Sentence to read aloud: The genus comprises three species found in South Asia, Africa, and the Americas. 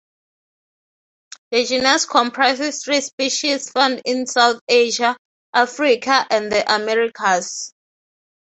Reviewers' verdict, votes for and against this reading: rejected, 0, 3